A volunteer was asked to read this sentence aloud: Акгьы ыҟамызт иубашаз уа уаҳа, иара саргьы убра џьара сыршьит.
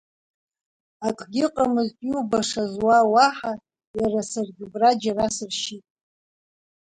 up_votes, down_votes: 2, 0